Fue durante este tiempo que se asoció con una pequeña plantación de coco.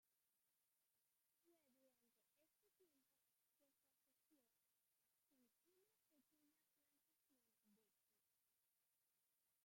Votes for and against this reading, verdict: 0, 2, rejected